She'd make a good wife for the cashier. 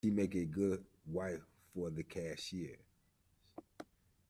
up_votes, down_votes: 0, 2